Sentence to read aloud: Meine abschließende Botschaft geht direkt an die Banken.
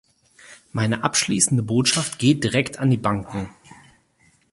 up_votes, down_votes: 4, 0